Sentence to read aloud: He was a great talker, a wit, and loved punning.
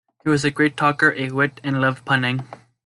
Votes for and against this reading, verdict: 2, 0, accepted